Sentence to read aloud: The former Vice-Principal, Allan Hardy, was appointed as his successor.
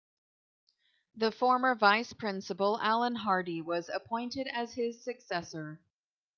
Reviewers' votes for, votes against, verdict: 2, 0, accepted